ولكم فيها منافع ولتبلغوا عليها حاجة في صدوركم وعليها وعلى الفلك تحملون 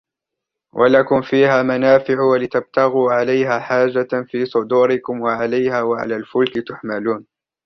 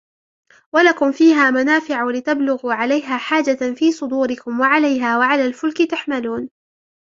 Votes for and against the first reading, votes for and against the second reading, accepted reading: 0, 2, 3, 1, second